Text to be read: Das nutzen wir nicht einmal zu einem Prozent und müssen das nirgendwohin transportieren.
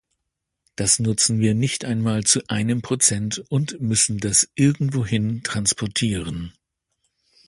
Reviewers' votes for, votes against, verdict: 0, 2, rejected